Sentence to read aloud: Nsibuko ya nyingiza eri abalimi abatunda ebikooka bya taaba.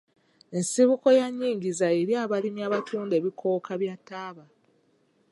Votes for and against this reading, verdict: 1, 2, rejected